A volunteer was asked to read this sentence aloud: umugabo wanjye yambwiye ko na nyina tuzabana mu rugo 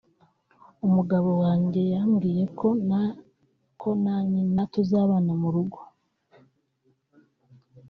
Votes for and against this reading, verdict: 0, 2, rejected